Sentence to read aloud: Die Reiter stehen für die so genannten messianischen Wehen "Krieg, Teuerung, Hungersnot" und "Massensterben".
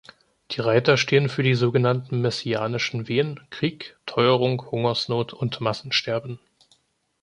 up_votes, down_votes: 2, 0